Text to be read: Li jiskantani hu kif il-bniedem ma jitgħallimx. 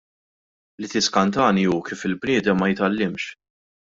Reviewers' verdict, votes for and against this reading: rejected, 0, 2